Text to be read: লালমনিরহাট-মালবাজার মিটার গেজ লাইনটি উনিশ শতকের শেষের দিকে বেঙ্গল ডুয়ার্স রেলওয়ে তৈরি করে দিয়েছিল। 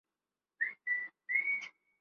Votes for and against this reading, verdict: 0, 4, rejected